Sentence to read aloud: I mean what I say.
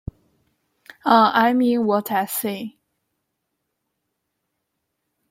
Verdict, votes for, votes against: rejected, 0, 2